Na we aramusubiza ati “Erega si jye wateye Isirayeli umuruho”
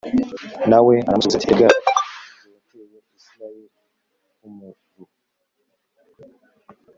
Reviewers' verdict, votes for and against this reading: rejected, 0, 2